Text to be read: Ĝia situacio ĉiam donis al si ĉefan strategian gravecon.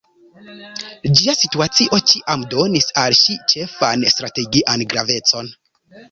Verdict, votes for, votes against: accepted, 2, 1